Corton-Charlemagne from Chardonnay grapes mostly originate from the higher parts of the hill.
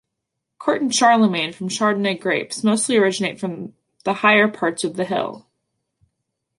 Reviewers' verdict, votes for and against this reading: accepted, 2, 0